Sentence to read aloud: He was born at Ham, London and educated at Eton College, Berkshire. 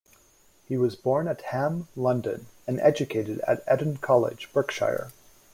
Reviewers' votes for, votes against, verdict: 2, 0, accepted